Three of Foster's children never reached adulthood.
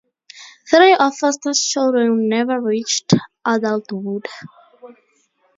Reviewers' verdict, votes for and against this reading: accepted, 2, 0